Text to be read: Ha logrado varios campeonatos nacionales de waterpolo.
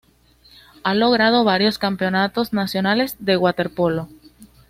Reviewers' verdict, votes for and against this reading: accepted, 2, 0